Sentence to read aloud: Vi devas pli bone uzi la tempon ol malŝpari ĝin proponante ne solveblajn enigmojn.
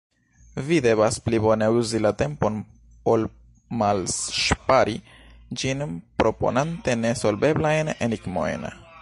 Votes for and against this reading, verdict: 1, 2, rejected